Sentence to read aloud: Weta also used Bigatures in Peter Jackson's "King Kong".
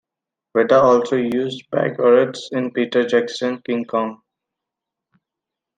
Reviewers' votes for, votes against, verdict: 1, 2, rejected